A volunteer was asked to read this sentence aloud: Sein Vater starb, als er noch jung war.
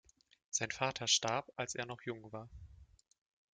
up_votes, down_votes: 2, 0